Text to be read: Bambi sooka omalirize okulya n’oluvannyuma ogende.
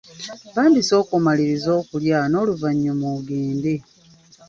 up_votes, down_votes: 1, 2